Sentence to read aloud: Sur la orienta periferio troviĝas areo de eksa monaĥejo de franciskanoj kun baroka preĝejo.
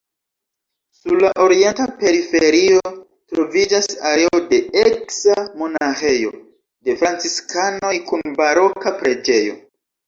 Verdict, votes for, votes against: rejected, 1, 2